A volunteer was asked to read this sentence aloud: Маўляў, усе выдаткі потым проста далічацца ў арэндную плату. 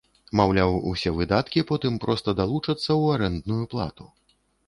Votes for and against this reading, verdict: 1, 2, rejected